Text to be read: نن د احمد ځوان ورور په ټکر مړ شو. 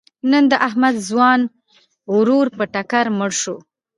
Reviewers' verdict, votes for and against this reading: accepted, 2, 0